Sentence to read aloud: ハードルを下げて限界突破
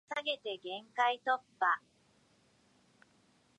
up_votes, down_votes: 0, 3